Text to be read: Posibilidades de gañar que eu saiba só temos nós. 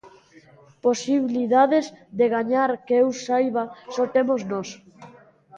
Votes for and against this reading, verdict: 2, 0, accepted